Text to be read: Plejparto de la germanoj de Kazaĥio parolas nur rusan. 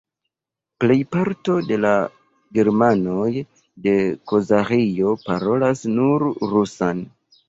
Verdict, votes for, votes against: rejected, 1, 2